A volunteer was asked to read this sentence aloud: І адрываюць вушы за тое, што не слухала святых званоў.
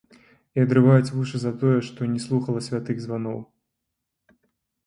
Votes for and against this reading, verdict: 0, 2, rejected